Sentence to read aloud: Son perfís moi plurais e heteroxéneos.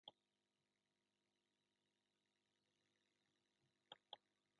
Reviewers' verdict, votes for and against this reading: rejected, 0, 2